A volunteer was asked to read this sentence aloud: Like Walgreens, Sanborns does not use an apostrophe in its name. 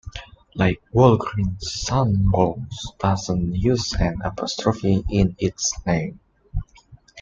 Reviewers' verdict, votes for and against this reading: rejected, 1, 2